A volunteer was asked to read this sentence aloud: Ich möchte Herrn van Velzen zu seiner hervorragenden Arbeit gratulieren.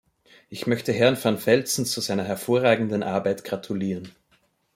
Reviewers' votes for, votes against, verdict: 2, 0, accepted